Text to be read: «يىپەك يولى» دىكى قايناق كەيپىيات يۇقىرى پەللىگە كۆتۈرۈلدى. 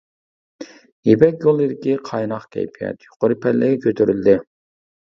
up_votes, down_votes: 2, 0